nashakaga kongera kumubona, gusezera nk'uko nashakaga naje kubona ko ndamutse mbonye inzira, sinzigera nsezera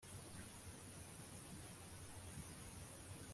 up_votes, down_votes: 0, 2